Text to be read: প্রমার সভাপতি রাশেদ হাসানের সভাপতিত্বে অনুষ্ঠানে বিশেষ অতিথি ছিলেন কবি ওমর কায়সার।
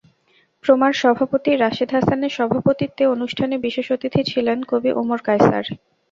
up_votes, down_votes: 2, 0